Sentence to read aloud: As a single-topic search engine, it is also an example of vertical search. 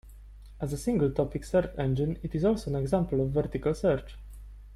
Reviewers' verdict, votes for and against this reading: rejected, 1, 2